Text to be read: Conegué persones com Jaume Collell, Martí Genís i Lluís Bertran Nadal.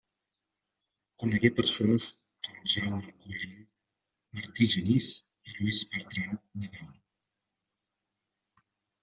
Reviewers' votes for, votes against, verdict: 2, 1, accepted